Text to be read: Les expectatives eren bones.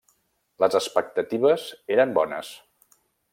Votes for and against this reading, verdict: 3, 0, accepted